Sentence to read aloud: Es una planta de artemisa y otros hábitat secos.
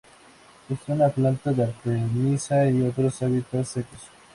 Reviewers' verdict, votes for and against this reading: accepted, 2, 0